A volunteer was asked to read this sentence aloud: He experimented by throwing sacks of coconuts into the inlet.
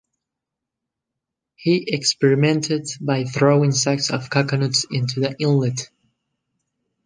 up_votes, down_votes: 2, 0